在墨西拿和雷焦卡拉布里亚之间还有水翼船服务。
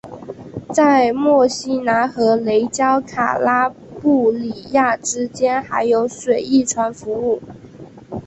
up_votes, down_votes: 4, 2